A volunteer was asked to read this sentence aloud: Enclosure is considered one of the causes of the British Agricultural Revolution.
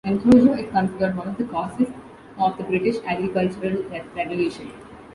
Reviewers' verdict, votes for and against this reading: accepted, 2, 0